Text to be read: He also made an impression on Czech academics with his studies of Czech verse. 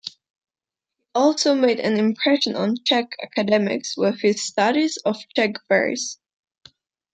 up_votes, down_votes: 1, 2